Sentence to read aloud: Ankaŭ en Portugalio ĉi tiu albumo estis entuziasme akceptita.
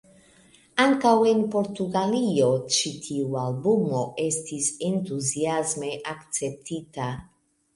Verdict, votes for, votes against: rejected, 0, 2